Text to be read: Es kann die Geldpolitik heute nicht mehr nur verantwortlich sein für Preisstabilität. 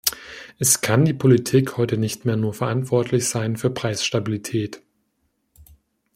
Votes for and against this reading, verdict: 0, 2, rejected